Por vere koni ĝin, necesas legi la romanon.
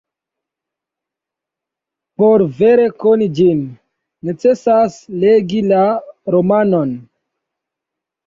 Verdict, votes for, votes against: accepted, 2, 0